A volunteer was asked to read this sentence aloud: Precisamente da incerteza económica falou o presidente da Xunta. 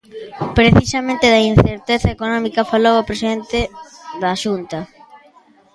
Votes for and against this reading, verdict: 0, 2, rejected